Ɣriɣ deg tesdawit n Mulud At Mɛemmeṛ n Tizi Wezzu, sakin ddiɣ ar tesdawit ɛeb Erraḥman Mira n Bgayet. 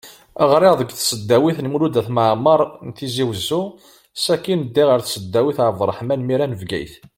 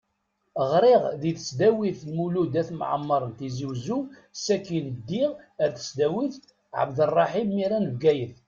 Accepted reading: first